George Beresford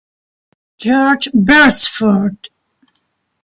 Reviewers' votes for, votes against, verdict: 2, 0, accepted